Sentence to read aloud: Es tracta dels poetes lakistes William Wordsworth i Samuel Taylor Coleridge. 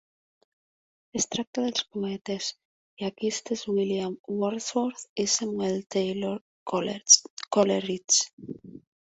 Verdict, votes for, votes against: rejected, 0, 2